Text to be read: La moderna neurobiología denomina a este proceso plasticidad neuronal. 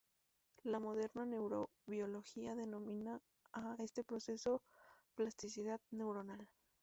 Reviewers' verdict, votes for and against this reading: rejected, 0, 6